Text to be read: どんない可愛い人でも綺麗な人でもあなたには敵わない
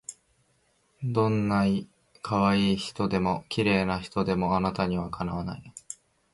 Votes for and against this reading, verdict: 2, 0, accepted